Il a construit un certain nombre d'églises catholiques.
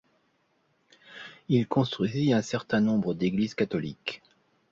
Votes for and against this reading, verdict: 0, 2, rejected